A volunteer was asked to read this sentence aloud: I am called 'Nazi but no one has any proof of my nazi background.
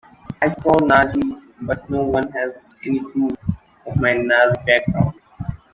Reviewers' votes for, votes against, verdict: 1, 2, rejected